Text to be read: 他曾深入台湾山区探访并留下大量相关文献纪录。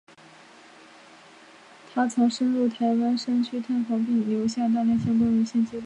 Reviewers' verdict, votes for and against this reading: rejected, 1, 2